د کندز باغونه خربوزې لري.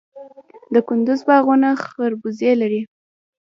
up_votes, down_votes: 1, 2